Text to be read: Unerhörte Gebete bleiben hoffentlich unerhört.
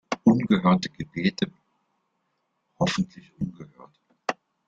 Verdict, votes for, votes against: rejected, 0, 3